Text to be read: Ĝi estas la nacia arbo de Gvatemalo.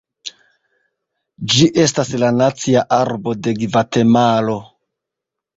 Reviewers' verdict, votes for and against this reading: rejected, 0, 2